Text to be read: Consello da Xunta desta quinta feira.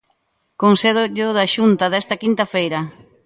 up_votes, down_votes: 0, 3